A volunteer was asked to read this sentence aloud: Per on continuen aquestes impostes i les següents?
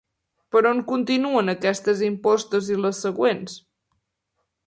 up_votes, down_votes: 3, 0